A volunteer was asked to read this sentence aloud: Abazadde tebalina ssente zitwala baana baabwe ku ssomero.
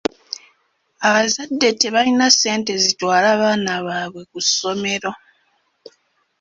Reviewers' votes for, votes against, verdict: 1, 2, rejected